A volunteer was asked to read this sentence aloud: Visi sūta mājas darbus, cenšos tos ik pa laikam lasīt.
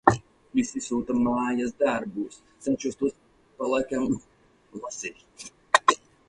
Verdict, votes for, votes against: rejected, 0, 4